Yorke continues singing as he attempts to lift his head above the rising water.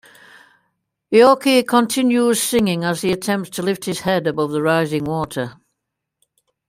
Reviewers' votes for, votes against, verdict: 2, 0, accepted